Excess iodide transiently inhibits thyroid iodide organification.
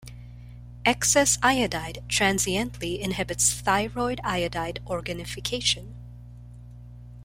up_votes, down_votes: 4, 0